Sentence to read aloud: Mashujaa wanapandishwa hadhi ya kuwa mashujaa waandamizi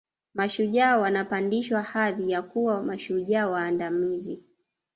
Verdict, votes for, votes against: accepted, 2, 1